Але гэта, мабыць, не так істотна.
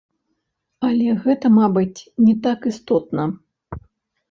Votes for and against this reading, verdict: 1, 2, rejected